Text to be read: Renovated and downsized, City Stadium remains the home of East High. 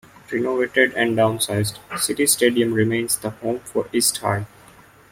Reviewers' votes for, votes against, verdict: 0, 2, rejected